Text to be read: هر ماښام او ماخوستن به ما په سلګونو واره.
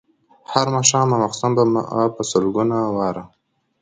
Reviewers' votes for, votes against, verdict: 2, 0, accepted